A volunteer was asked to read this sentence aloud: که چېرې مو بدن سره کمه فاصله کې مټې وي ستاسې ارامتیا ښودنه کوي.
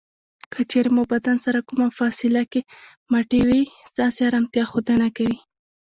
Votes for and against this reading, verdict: 2, 1, accepted